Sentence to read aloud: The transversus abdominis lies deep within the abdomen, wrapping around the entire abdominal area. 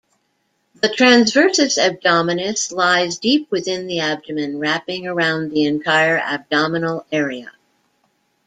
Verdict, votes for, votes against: accepted, 2, 0